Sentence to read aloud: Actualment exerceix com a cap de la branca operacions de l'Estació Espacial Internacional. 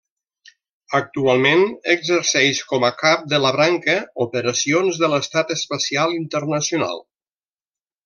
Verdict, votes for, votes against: rejected, 1, 2